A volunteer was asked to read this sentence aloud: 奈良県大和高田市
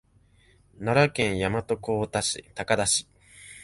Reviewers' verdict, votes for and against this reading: rejected, 0, 2